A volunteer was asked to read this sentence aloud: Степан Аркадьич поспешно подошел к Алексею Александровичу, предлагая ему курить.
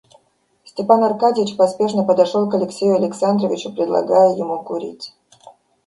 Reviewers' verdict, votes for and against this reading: accepted, 2, 0